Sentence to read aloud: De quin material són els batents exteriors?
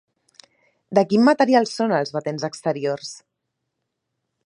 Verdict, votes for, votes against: accepted, 4, 0